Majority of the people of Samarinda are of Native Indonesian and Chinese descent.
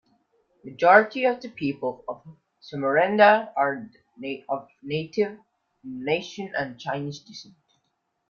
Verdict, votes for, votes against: rejected, 0, 2